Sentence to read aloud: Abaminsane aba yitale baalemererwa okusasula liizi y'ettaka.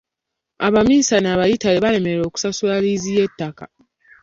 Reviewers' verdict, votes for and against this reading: accepted, 2, 0